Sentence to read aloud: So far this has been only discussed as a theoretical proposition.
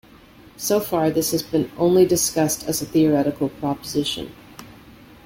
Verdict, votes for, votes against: accepted, 2, 0